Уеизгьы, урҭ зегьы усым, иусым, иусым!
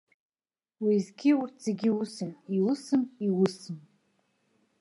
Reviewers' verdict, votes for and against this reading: accepted, 2, 0